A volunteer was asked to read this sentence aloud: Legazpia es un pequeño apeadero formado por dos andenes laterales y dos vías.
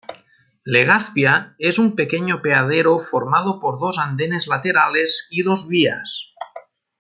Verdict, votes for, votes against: accepted, 2, 0